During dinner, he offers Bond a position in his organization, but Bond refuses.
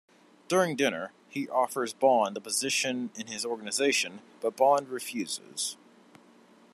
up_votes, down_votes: 1, 2